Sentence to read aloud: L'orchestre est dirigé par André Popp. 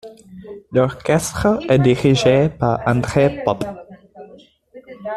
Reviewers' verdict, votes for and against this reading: accepted, 2, 0